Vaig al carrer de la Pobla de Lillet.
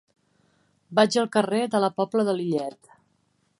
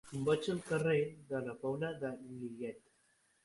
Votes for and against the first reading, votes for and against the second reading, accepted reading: 3, 0, 3, 6, first